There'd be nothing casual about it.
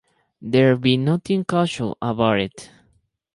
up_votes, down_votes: 2, 2